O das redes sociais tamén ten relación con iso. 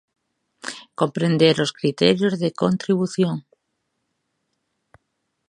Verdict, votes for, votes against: rejected, 0, 2